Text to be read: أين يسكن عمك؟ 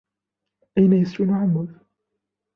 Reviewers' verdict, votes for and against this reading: accepted, 2, 0